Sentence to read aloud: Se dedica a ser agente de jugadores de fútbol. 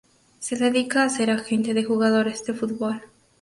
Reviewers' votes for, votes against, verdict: 0, 2, rejected